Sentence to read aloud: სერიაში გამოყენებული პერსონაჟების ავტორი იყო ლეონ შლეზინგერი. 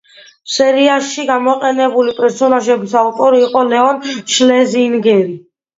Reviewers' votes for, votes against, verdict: 2, 0, accepted